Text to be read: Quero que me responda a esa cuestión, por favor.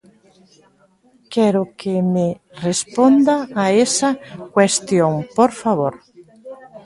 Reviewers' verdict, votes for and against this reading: rejected, 1, 2